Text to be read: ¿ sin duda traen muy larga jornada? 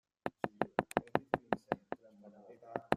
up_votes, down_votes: 0, 2